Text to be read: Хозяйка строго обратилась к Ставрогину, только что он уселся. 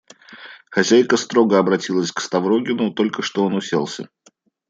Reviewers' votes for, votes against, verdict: 2, 1, accepted